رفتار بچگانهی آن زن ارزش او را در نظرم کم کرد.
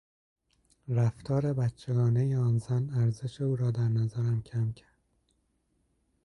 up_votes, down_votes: 2, 1